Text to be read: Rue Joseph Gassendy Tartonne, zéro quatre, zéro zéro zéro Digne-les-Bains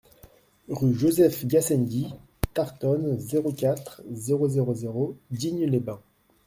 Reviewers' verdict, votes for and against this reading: accepted, 2, 0